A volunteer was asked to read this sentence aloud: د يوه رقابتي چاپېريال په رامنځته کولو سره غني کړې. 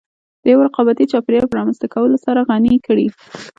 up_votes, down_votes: 0, 2